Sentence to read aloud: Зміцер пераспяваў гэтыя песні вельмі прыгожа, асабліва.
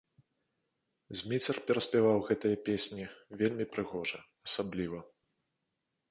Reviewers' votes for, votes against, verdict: 2, 0, accepted